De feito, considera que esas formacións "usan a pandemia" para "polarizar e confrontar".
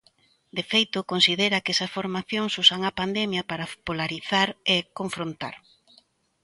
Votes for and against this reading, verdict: 2, 0, accepted